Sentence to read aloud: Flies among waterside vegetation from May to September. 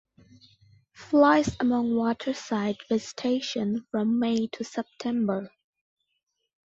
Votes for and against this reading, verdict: 2, 0, accepted